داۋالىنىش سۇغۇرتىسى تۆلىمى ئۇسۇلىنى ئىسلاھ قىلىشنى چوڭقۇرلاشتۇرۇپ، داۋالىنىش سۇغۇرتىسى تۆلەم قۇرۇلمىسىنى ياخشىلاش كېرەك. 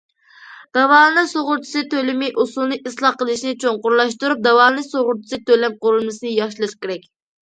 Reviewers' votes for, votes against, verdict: 2, 0, accepted